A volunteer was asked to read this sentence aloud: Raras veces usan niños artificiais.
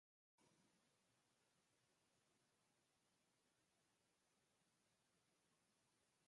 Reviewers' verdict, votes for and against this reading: rejected, 0, 4